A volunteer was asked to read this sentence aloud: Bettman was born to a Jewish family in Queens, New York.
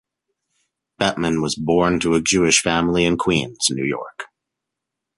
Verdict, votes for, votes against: accepted, 2, 0